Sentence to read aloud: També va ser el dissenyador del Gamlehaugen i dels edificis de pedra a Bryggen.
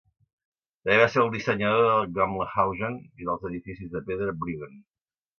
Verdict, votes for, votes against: rejected, 0, 2